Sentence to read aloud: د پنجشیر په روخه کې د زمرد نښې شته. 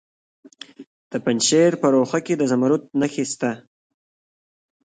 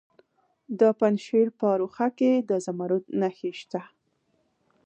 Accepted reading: first